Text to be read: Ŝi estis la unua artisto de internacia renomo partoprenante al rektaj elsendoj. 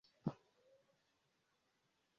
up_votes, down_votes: 0, 2